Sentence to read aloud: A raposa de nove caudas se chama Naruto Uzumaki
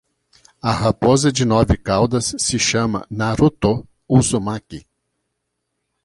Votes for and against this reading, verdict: 2, 0, accepted